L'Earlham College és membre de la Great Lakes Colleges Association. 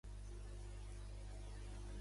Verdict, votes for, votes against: rejected, 0, 2